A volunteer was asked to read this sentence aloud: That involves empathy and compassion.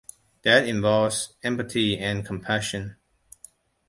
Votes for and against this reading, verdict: 2, 0, accepted